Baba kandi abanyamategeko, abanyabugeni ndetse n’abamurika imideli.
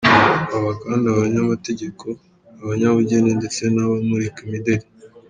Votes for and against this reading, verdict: 2, 0, accepted